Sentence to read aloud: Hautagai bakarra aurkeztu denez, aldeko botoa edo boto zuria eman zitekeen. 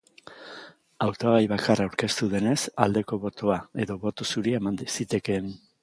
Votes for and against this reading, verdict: 2, 0, accepted